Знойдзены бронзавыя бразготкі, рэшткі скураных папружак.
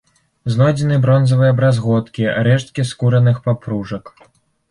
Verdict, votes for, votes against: rejected, 0, 2